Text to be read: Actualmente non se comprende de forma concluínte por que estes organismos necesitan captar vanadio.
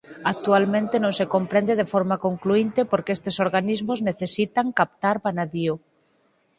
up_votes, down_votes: 0, 4